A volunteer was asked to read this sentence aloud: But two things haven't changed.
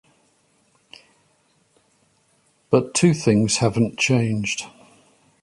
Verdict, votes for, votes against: accepted, 2, 0